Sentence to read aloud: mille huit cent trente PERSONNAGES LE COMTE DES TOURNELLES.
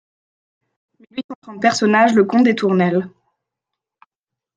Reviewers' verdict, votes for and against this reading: rejected, 0, 2